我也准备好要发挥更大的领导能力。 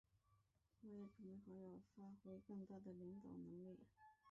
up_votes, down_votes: 4, 5